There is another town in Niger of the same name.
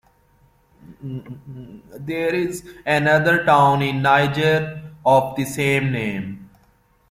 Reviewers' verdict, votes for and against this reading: accepted, 2, 0